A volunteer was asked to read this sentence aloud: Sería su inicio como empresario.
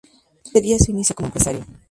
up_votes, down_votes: 0, 2